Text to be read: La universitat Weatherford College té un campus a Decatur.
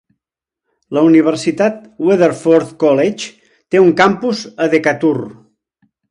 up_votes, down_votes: 4, 0